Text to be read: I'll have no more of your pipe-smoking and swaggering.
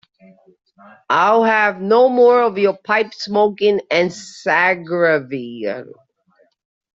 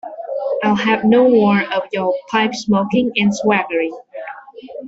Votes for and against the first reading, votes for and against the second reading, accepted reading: 0, 2, 2, 0, second